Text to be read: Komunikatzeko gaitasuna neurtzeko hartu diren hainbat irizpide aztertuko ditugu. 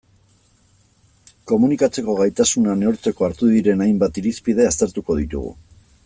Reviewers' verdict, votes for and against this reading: accepted, 2, 0